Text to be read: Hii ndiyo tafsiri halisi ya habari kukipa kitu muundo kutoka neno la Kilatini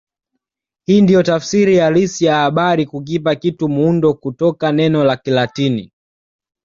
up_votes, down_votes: 2, 1